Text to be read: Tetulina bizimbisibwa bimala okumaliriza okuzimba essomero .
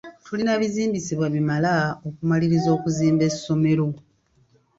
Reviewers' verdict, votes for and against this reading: rejected, 1, 2